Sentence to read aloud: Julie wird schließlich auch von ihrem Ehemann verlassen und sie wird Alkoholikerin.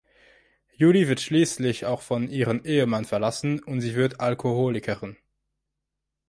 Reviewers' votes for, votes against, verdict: 4, 1, accepted